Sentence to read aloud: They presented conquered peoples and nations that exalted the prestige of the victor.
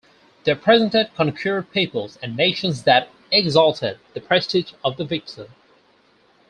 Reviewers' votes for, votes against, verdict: 4, 0, accepted